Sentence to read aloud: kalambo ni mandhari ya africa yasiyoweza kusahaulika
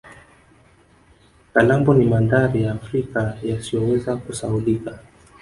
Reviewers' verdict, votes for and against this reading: rejected, 1, 2